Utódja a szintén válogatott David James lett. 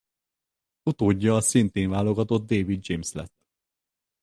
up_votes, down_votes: 4, 0